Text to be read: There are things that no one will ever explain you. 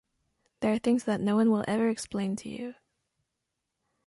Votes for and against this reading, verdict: 2, 0, accepted